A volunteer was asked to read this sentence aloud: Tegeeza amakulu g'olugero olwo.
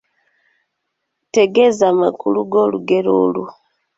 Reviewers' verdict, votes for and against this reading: accepted, 2, 0